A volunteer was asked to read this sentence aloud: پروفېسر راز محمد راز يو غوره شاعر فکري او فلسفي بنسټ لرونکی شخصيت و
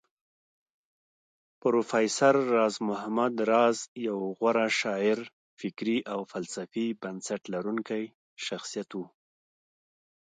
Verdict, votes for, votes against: accepted, 2, 0